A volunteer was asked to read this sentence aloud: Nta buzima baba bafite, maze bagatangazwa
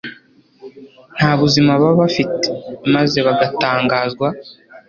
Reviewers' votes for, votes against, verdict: 2, 0, accepted